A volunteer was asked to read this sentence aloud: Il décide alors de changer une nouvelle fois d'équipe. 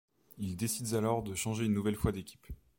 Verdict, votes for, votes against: rejected, 1, 2